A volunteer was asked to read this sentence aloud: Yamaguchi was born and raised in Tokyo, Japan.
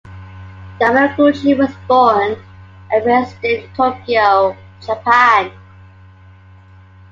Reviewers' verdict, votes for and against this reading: accepted, 2, 0